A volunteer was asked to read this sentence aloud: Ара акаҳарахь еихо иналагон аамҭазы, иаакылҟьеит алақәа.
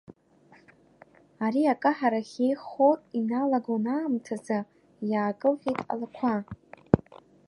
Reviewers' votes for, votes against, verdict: 1, 2, rejected